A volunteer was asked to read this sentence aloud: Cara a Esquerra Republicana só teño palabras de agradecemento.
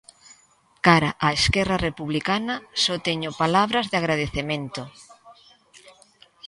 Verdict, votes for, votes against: rejected, 1, 2